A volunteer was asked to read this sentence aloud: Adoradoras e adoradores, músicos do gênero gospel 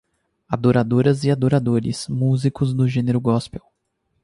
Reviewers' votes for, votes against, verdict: 2, 2, rejected